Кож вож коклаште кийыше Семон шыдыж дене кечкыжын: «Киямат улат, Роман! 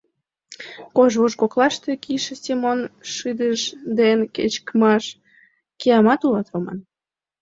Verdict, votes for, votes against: accepted, 2, 1